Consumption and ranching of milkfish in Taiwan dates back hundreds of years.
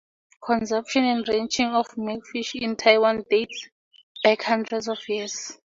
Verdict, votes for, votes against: rejected, 2, 2